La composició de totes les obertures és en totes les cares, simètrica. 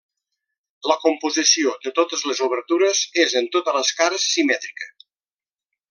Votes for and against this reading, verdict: 3, 0, accepted